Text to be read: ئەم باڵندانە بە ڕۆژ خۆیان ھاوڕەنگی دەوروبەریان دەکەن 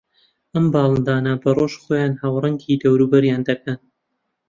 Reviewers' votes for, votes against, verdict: 2, 0, accepted